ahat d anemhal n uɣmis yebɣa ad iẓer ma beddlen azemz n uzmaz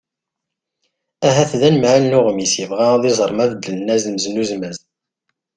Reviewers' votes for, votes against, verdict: 2, 0, accepted